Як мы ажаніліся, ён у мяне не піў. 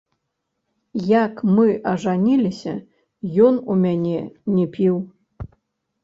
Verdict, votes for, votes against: rejected, 1, 2